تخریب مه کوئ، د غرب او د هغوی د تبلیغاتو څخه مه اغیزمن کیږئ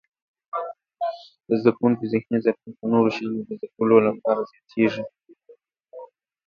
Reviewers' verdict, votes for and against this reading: rejected, 0, 2